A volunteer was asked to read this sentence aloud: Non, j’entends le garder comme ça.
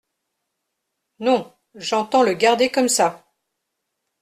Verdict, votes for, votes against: accepted, 2, 0